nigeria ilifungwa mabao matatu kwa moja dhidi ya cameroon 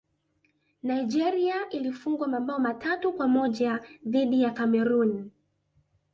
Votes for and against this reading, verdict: 2, 0, accepted